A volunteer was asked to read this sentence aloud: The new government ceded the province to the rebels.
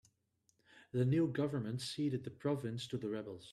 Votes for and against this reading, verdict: 2, 0, accepted